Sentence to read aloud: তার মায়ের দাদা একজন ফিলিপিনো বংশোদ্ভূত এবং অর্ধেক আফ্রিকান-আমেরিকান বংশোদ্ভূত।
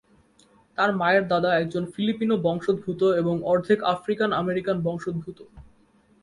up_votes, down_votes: 3, 0